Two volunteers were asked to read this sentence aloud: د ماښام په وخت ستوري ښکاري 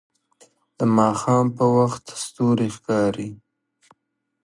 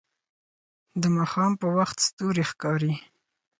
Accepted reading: first